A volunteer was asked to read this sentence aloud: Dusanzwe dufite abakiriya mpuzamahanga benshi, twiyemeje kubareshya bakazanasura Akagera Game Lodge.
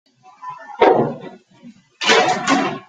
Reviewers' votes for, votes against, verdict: 0, 2, rejected